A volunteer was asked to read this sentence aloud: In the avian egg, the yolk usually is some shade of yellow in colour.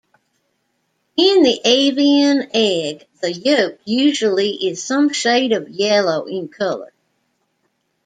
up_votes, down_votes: 0, 2